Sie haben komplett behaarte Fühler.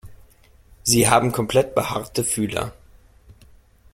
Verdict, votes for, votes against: accepted, 2, 0